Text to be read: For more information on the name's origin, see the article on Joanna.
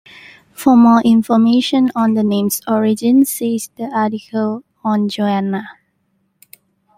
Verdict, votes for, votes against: accepted, 2, 1